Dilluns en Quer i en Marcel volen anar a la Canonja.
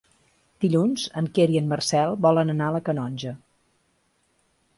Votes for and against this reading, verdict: 3, 0, accepted